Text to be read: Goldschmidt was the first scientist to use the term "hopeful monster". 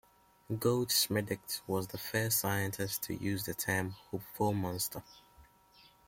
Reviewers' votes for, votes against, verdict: 0, 2, rejected